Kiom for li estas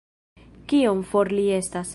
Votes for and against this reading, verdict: 2, 0, accepted